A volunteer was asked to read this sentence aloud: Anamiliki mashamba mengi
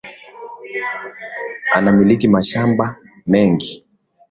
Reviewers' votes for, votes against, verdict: 2, 0, accepted